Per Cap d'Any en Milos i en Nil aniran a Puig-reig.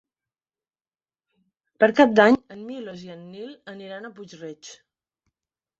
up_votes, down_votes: 1, 2